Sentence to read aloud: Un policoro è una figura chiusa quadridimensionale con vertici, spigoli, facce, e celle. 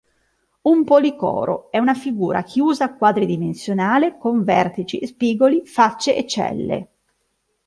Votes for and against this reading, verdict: 2, 0, accepted